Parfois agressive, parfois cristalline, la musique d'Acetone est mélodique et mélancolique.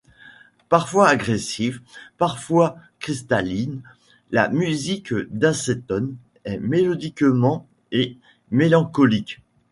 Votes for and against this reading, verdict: 0, 2, rejected